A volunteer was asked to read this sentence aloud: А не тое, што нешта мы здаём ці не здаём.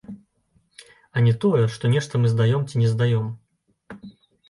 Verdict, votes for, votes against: accepted, 2, 0